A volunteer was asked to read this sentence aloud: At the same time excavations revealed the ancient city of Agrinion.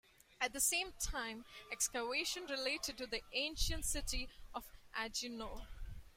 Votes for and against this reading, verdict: 1, 2, rejected